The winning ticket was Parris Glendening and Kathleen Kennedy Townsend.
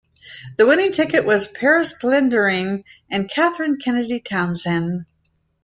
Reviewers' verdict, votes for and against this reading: accepted, 2, 1